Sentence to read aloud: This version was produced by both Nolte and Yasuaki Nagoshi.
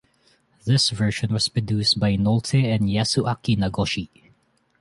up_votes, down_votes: 2, 0